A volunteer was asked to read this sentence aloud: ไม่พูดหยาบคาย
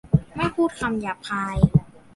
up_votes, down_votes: 0, 2